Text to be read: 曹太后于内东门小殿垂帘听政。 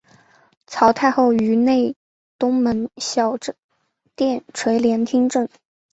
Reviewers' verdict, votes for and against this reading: rejected, 1, 2